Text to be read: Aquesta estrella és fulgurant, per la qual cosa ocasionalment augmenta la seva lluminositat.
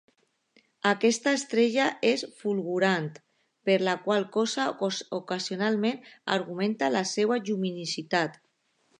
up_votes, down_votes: 0, 2